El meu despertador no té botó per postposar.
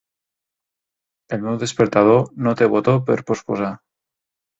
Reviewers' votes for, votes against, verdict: 2, 0, accepted